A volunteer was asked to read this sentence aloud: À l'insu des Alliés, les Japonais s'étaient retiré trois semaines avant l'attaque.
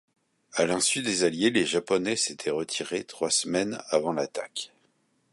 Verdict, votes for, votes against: accepted, 2, 0